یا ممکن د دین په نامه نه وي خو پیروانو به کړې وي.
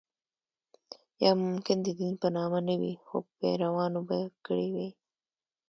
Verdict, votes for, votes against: accepted, 2, 0